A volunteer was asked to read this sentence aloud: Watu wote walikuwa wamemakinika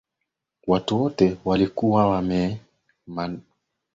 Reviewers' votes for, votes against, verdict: 0, 2, rejected